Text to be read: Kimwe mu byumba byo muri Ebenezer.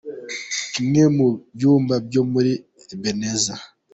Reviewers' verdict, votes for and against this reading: accepted, 2, 0